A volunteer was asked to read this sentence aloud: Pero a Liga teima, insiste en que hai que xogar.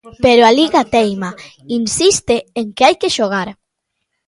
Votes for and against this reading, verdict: 1, 2, rejected